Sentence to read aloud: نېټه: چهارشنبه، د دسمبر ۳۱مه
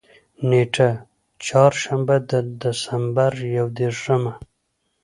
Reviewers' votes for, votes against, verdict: 0, 2, rejected